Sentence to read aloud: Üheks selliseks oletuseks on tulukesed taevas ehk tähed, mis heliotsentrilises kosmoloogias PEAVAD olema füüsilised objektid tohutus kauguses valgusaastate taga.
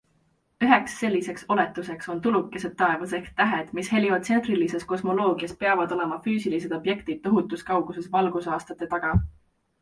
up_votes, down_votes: 2, 0